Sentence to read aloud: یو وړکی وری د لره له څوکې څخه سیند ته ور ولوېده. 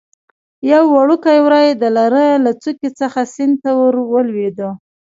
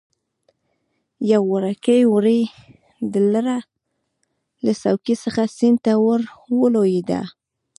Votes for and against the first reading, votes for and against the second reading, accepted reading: 3, 0, 0, 2, first